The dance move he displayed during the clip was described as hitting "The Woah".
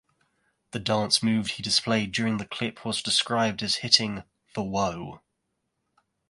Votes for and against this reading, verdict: 2, 1, accepted